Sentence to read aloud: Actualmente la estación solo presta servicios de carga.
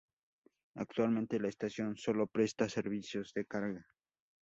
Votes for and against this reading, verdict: 2, 0, accepted